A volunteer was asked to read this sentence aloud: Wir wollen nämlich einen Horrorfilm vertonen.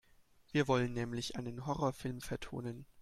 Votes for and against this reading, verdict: 2, 0, accepted